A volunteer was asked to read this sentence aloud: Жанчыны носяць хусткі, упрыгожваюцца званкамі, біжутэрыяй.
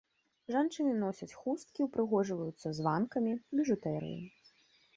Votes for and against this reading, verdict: 0, 2, rejected